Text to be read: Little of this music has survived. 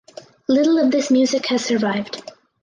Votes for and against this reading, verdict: 4, 0, accepted